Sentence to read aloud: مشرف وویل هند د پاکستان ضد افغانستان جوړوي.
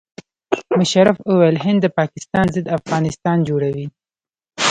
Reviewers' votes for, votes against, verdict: 0, 2, rejected